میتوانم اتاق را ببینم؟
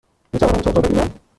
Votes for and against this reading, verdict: 1, 2, rejected